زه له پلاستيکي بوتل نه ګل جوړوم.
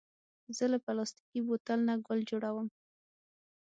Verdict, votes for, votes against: accepted, 6, 0